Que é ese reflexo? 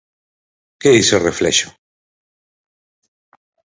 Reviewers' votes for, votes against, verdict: 0, 4, rejected